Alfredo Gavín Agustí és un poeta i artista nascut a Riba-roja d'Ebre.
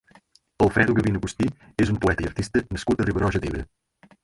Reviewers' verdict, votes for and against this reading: rejected, 2, 4